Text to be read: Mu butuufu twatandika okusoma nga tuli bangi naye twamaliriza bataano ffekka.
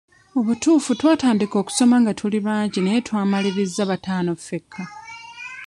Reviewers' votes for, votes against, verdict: 1, 2, rejected